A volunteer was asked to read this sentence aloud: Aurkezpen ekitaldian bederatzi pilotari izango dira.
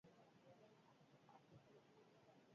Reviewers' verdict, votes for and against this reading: rejected, 0, 6